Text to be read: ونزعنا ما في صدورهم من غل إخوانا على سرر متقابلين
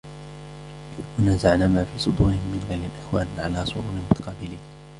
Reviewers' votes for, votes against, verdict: 0, 2, rejected